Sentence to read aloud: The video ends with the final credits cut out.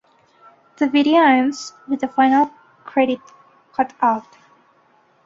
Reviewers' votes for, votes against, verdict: 1, 2, rejected